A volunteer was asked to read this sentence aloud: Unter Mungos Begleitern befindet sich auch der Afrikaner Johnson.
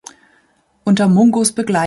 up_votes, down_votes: 0, 2